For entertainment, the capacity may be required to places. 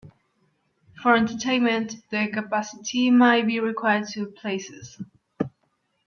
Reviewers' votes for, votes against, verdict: 0, 2, rejected